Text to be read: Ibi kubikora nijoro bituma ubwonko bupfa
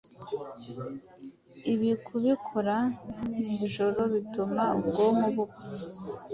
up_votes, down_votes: 2, 0